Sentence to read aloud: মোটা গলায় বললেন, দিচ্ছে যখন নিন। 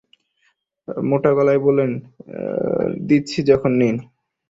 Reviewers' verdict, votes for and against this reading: rejected, 1, 2